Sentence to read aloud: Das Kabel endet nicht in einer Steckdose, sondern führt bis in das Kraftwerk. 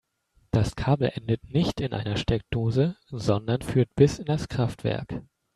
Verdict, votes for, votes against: rejected, 0, 2